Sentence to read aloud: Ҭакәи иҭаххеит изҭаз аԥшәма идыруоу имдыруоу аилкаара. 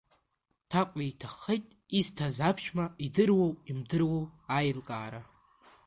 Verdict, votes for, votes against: accepted, 2, 1